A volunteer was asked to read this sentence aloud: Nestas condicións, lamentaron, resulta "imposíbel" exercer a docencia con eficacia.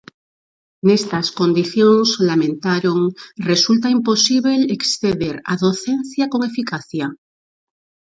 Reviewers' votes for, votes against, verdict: 0, 4, rejected